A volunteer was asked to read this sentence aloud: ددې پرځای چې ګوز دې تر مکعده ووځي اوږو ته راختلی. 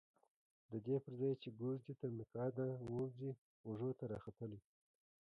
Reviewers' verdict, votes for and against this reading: accepted, 2, 1